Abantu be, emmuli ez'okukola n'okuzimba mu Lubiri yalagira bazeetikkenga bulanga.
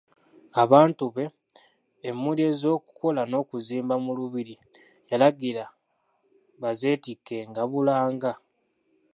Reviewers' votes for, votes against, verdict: 2, 0, accepted